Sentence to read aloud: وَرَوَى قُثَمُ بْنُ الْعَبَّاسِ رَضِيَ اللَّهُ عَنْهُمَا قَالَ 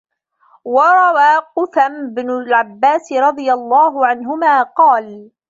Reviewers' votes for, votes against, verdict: 0, 2, rejected